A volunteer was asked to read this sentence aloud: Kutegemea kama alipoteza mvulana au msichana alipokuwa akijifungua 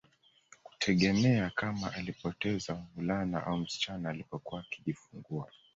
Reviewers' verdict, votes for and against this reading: rejected, 1, 2